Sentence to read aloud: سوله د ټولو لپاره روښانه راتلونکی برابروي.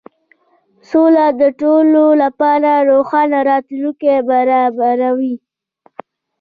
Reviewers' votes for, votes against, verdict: 0, 2, rejected